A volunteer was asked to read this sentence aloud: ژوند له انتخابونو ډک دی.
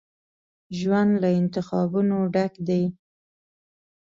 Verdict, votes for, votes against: accepted, 2, 0